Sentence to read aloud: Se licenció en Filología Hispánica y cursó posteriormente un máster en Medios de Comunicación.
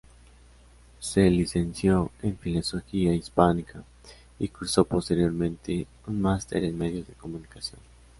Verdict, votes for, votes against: rejected, 0, 2